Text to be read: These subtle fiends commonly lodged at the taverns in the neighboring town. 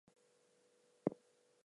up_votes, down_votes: 0, 4